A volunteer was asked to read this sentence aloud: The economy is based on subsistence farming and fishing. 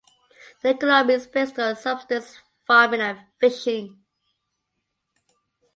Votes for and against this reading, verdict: 1, 2, rejected